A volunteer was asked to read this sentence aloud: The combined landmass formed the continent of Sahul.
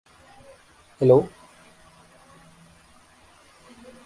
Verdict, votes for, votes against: rejected, 0, 2